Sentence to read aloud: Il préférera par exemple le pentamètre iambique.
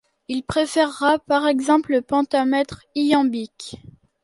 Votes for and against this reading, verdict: 1, 2, rejected